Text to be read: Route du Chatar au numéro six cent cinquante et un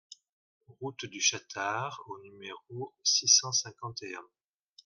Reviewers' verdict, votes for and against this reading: accepted, 2, 0